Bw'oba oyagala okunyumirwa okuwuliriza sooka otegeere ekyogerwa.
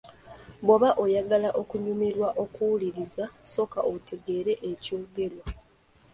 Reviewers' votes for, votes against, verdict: 2, 0, accepted